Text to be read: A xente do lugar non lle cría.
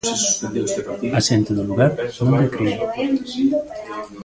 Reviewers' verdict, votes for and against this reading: rejected, 0, 2